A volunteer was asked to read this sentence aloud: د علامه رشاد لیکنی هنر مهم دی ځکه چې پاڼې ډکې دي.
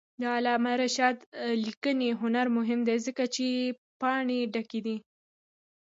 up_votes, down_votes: 2, 0